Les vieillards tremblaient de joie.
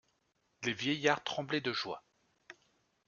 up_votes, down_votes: 2, 0